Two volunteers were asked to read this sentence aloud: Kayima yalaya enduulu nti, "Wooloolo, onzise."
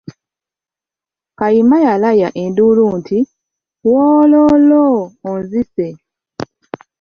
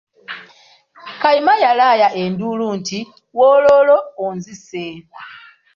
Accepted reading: first